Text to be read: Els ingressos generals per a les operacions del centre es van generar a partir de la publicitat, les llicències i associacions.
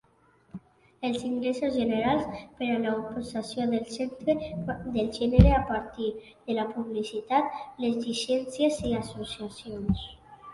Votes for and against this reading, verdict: 1, 2, rejected